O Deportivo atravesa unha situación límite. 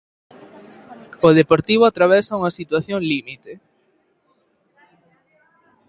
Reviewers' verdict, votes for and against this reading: accepted, 2, 0